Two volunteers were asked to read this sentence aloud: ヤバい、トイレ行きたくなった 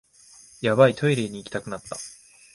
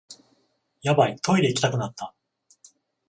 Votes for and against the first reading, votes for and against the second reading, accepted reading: 0, 2, 14, 0, second